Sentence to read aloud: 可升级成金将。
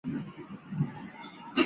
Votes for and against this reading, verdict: 0, 2, rejected